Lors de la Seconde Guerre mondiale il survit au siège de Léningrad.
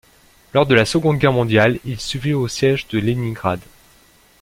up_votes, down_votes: 0, 2